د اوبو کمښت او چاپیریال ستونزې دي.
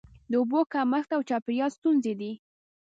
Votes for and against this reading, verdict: 0, 2, rejected